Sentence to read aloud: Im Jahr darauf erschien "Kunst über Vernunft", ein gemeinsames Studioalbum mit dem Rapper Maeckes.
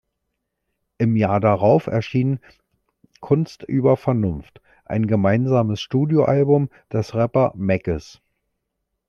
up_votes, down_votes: 1, 2